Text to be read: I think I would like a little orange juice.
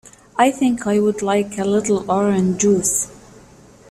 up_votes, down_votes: 2, 0